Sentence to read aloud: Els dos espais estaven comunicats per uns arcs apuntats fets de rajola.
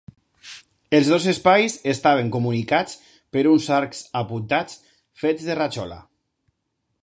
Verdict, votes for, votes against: accepted, 2, 0